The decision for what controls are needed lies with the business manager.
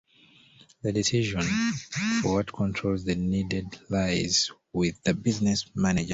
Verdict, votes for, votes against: rejected, 0, 2